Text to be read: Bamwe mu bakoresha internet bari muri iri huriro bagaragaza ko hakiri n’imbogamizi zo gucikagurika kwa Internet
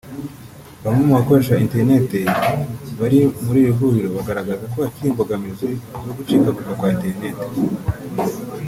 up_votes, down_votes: 1, 2